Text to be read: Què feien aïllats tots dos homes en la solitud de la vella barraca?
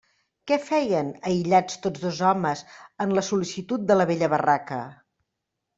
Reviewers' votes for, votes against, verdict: 1, 2, rejected